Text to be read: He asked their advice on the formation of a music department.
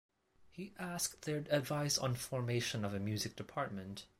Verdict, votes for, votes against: rejected, 1, 2